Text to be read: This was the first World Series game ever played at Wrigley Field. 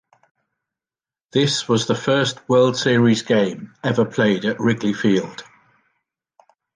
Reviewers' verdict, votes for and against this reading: accepted, 2, 0